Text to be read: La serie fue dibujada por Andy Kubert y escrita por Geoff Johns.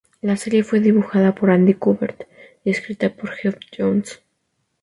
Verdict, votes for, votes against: accepted, 2, 0